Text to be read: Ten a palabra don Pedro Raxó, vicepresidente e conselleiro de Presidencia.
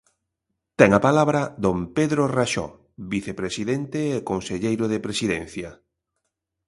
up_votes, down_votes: 2, 0